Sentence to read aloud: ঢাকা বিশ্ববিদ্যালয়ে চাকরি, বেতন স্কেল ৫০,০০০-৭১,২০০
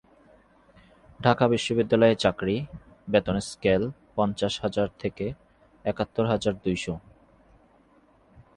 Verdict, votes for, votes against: rejected, 0, 2